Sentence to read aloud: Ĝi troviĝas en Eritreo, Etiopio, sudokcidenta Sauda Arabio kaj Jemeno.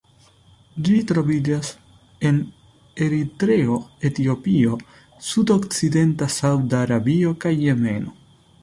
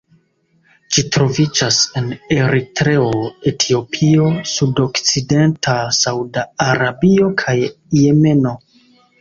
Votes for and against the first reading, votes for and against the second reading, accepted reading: 2, 0, 1, 2, first